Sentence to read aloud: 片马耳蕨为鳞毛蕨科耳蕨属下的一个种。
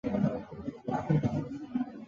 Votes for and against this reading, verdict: 0, 2, rejected